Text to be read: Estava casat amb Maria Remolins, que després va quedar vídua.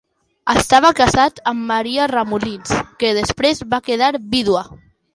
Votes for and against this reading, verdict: 2, 0, accepted